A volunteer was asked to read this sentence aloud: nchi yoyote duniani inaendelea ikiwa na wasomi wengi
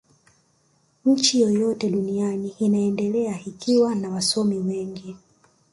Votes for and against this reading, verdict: 7, 1, accepted